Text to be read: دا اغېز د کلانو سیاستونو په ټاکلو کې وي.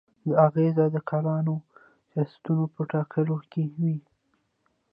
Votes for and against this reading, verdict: 1, 2, rejected